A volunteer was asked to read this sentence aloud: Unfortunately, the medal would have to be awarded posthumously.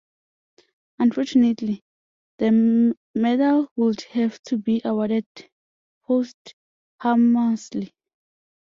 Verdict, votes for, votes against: rejected, 0, 2